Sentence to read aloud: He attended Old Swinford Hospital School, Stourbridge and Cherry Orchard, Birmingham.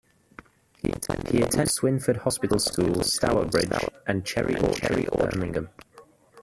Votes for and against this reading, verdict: 0, 2, rejected